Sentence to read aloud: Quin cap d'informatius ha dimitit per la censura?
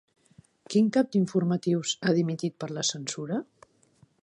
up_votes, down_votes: 5, 0